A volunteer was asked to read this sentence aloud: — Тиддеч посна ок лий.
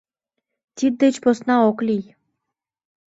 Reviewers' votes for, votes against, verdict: 2, 0, accepted